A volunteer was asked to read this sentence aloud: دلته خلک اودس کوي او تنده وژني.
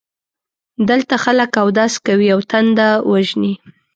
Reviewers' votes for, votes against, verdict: 2, 0, accepted